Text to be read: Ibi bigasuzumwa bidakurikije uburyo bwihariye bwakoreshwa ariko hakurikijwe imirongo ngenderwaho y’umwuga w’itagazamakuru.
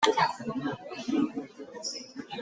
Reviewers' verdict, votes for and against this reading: rejected, 0, 2